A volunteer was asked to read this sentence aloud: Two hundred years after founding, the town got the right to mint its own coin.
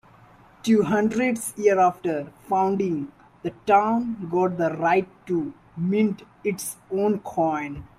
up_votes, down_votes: 0, 2